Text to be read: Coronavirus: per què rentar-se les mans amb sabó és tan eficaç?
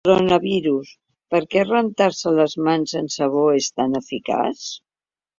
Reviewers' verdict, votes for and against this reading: rejected, 1, 2